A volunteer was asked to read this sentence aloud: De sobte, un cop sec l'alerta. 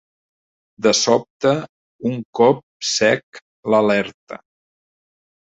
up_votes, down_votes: 3, 0